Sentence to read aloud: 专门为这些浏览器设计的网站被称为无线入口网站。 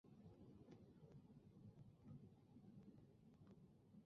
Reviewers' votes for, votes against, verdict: 1, 2, rejected